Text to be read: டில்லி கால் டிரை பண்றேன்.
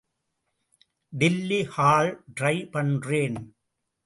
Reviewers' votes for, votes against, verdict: 0, 2, rejected